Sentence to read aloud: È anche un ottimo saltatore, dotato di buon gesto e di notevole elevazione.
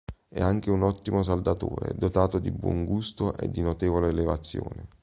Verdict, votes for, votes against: rejected, 1, 2